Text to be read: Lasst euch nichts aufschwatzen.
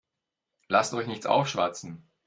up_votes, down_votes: 2, 0